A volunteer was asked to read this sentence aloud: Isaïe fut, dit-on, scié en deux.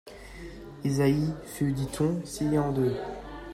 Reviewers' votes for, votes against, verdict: 2, 0, accepted